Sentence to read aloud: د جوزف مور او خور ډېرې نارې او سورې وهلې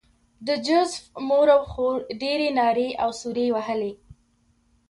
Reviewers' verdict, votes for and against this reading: accepted, 2, 0